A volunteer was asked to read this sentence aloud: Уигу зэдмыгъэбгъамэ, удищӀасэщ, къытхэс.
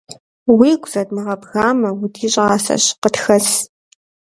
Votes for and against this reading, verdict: 1, 2, rejected